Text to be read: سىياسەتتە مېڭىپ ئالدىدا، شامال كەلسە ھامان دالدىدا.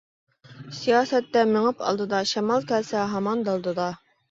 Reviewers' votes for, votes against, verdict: 2, 0, accepted